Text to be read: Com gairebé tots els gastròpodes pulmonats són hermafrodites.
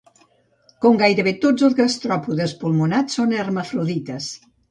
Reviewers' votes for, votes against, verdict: 2, 0, accepted